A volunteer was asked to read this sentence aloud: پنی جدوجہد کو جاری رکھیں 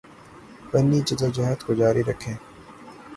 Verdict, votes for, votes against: accepted, 9, 0